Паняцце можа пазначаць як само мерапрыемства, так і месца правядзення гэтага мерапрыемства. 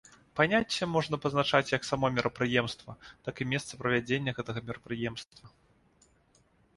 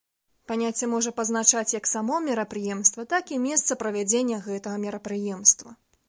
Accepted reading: second